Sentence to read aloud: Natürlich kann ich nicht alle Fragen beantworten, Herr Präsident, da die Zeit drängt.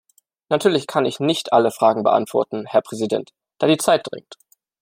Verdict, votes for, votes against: accepted, 2, 0